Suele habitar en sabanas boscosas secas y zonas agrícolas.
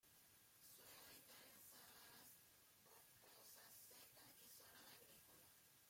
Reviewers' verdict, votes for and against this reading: rejected, 0, 2